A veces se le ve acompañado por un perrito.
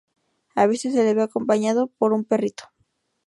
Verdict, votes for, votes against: rejected, 0, 2